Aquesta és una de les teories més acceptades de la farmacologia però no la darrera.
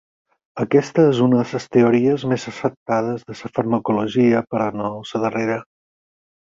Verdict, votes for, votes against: rejected, 0, 4